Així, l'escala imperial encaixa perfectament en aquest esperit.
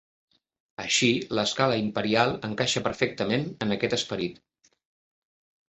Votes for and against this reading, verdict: 4, 0, accepted